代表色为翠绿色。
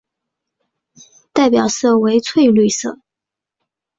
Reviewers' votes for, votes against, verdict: 2, 0, accepted